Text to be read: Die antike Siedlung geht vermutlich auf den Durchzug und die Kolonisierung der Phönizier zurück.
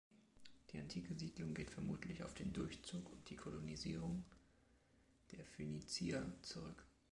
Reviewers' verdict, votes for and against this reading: accepted, 2, 1